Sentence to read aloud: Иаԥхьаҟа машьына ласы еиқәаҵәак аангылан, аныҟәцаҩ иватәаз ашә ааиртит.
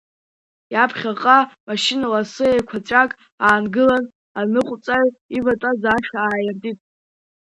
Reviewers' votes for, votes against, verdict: 2, 1, accepted